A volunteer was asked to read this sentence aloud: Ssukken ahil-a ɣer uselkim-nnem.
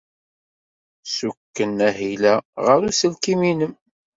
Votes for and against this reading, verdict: 2, 0, accepted